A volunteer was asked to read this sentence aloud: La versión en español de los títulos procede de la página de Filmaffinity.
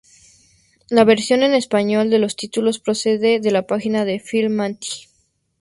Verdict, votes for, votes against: accepted, 2, 0